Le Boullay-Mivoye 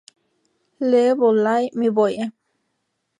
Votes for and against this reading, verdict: 0, 2, rejected